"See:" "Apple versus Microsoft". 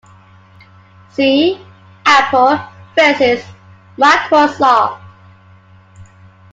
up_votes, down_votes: 2, 1